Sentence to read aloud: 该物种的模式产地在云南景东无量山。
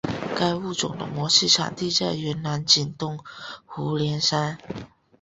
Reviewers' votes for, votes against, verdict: 1, 2, rejected